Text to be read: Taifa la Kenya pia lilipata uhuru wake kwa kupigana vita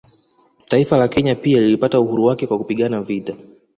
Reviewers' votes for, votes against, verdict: 2, 1, accepted